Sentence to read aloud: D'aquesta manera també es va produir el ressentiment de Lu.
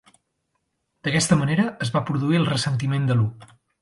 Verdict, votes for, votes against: rejected, 1, 2